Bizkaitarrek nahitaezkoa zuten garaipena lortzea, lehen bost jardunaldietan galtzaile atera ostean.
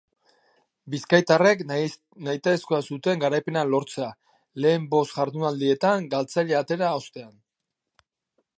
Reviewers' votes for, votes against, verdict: 0, 2, rejected